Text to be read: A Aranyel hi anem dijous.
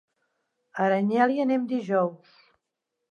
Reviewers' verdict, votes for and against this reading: accepted, 3, 0